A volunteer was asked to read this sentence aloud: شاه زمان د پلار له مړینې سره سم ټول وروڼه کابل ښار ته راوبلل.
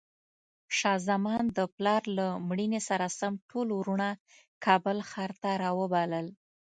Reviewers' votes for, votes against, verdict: 2, 0, accepted